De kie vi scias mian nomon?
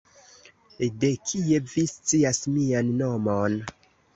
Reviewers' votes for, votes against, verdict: 2, 2, rejected